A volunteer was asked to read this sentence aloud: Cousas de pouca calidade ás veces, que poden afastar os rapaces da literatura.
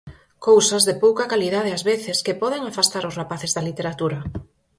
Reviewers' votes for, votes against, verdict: 4, 0, accepted